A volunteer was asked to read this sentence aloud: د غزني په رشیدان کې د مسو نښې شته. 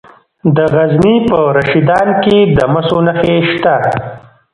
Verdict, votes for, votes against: accepted, 2, 0